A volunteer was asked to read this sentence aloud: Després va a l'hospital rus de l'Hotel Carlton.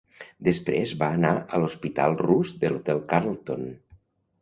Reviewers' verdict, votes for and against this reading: rejected, 0, 2